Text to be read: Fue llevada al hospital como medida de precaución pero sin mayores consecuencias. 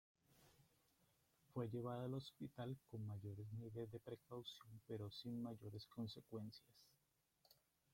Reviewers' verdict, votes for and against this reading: rejected, 0, 2